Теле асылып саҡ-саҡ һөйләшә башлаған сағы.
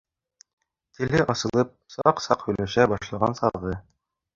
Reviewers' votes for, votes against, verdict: 0, 2, rejected